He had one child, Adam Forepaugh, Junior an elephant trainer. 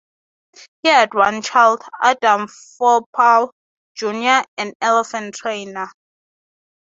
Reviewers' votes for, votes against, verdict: 0, 6, rejected